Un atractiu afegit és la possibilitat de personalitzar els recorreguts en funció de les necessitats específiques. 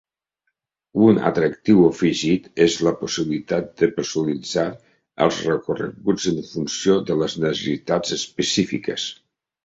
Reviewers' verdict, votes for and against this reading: rejected, 0, 2